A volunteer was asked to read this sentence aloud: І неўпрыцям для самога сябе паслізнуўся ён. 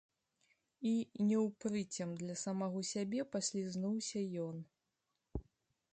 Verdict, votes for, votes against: rejected, 0, 2